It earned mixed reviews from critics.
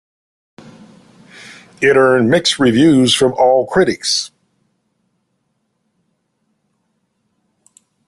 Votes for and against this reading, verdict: 0, 2, rejected